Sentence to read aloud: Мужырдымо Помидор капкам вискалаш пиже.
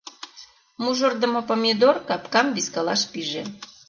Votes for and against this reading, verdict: 2, 0, accepted